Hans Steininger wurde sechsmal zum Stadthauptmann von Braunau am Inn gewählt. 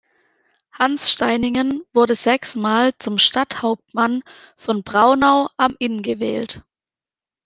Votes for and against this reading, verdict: 0, 2, rejected